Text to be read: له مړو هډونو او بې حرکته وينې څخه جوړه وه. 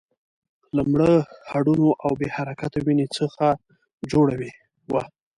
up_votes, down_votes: 1, 2